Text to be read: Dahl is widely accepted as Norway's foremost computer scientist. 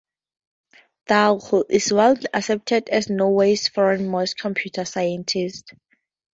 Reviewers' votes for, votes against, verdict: 2, 0, accepted